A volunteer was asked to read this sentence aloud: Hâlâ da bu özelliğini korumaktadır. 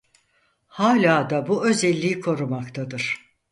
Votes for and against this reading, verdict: 2, 4, rejected